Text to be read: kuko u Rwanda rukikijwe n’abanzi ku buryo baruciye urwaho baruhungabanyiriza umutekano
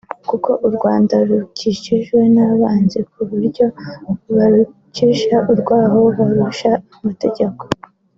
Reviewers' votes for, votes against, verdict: 2, 0, accepted